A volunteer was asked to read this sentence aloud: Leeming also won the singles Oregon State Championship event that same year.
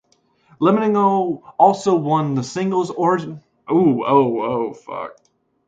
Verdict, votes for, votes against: rejected, 1, 2